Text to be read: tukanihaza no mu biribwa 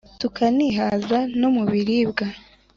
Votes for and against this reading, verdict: 2, 0, accepted